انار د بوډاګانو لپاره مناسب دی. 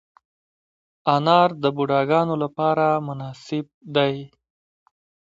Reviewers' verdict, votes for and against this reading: accepted, 2, 1